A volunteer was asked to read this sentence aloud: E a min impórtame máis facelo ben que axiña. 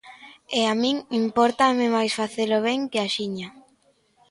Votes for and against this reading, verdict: 2, 0, accepted